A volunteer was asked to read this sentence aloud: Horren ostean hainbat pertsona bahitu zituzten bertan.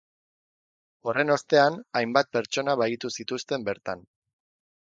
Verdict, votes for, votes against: accepted, 10, 0